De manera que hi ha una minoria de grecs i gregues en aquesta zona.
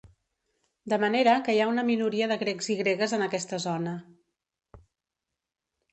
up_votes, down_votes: 3, 0